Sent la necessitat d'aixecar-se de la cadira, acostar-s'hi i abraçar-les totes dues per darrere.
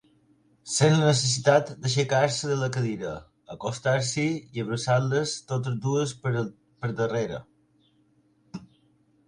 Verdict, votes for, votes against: rejected, 0, 2